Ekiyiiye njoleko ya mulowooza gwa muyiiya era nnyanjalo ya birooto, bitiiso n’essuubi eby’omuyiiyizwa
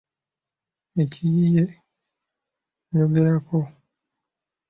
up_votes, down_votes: 0, 2